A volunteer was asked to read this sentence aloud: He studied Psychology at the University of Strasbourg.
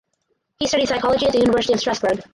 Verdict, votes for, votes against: rejected, 2, 4